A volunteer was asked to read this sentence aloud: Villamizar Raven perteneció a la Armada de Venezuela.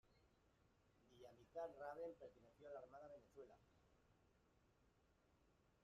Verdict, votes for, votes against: rejected, 0, 2